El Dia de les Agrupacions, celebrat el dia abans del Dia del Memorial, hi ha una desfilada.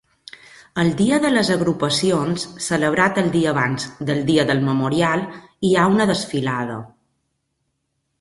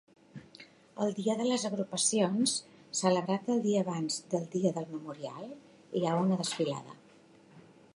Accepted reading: first